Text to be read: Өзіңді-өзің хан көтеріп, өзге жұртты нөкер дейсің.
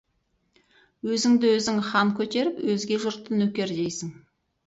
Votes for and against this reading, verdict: 4, 0, accepted